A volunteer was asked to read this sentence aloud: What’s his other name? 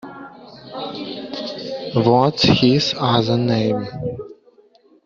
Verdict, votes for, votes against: rejected, 1, 2